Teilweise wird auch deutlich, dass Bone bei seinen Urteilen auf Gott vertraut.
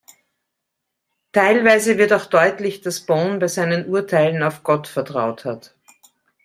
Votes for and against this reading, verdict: 1, 2, rejected